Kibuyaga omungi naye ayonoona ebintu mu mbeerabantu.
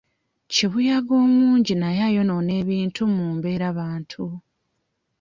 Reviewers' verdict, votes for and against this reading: rejected, 1, 2